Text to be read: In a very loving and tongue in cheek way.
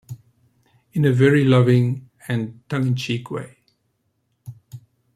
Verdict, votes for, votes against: rejected, 1, 2